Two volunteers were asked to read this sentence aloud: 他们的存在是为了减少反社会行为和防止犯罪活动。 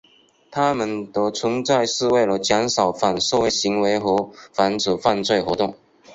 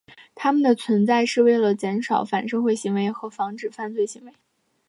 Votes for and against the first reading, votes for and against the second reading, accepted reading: 2, 0, 0, 2, first